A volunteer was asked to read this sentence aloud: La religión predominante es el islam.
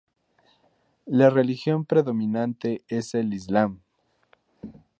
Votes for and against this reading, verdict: 4, 0, accepted